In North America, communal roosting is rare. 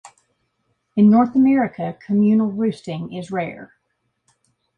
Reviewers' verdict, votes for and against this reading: accepted, 2, 0